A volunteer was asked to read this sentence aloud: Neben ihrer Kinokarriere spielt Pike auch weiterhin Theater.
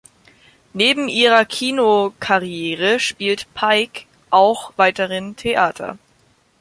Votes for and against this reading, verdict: 2, 0, accepted